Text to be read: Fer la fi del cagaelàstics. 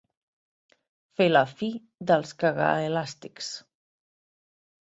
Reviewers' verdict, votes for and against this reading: rejected, 1, 2